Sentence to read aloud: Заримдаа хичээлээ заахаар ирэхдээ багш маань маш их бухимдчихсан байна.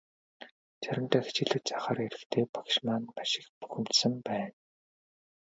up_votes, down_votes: 1, 2